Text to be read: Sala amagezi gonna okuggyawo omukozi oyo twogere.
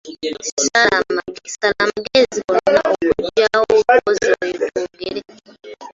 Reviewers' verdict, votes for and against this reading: accepted, 2, 0